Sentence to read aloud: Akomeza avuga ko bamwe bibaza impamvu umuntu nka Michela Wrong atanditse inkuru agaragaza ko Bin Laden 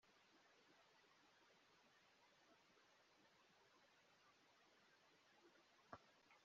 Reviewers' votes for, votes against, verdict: 1, 2, rejected